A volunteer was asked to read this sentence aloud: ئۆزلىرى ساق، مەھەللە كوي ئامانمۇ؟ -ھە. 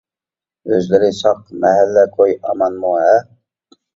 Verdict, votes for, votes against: accepted, 2, 0